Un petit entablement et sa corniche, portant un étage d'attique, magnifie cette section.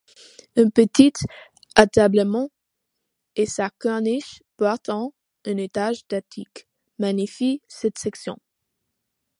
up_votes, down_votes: 1, 2